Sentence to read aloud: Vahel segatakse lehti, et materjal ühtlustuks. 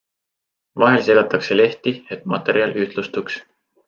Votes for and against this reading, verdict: 2, 0, accepted